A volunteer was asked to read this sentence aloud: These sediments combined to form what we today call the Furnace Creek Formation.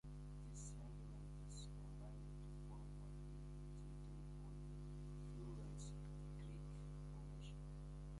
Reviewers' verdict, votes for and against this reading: rejected, 0, 2